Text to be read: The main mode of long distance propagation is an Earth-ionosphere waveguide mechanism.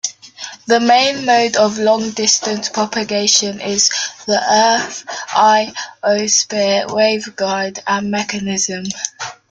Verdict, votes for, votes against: rejected, 0, 2